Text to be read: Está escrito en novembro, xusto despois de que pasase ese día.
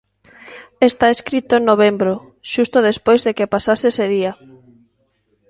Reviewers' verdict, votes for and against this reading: rejected, 1, 2